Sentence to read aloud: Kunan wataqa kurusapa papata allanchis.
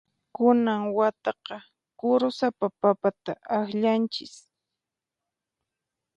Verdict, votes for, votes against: rejected, 0, 4